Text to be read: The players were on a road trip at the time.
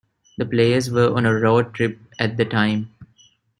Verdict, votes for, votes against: accepted, 2, 1